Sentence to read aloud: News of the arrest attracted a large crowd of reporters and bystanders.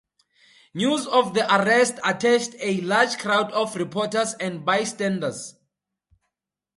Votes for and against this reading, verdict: 2, 0, accepted